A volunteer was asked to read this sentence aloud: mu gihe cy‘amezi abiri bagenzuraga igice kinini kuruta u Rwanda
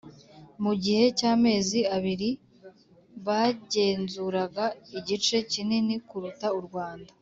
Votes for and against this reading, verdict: 2, 0, accepted